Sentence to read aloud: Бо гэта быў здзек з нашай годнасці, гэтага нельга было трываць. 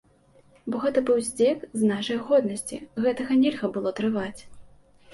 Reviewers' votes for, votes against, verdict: 2, 0, accepted